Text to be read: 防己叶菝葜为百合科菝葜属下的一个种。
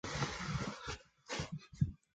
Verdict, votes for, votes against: accepted, 2, 0